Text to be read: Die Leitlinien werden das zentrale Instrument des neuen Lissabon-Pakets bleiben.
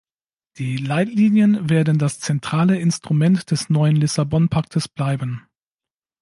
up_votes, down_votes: 0, 2